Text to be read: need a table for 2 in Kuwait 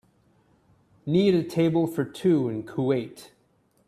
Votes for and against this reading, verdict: 0, 2, rejected